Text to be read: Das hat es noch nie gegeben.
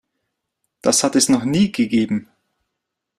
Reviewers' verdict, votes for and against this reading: accepted, 2, 0